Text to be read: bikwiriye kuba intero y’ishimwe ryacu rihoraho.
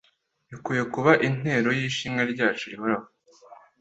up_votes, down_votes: 2, 1